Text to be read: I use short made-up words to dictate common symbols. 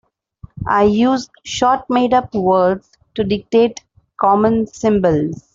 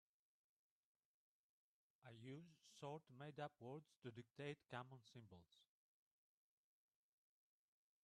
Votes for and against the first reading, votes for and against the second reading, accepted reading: 2, 0, 3, 5, first